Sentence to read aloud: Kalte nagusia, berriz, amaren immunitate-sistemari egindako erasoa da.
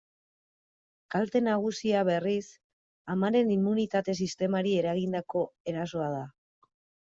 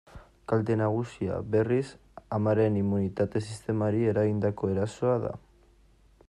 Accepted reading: second